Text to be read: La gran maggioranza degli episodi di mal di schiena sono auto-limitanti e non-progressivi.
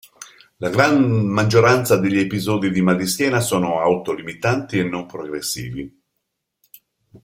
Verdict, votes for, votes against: rejected, 1, 2